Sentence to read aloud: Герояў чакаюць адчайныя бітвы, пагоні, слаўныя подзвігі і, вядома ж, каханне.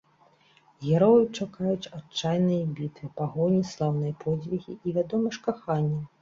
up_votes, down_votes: 2, 0